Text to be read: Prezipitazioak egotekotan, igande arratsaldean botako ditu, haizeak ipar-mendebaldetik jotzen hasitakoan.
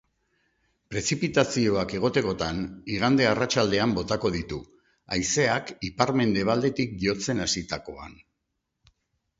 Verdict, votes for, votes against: accepted, 2, 0